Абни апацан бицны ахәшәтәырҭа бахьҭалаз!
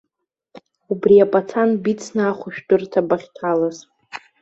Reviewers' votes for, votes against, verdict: 0, 2, rejected